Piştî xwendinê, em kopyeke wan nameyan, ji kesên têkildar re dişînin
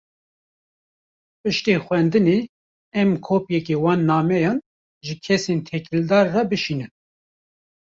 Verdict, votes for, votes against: rejected, 1, 2